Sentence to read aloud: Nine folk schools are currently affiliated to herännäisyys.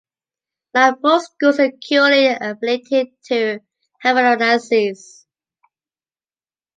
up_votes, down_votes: 0, 2